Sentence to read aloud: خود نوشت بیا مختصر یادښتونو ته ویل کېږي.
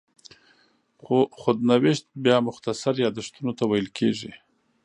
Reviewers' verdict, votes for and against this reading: rejected, 1, 2